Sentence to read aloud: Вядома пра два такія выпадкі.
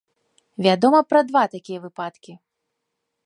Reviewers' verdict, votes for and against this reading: accepted, 3, 1